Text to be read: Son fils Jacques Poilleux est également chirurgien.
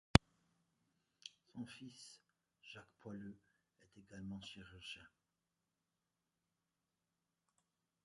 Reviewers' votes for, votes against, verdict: 0, 2, rejected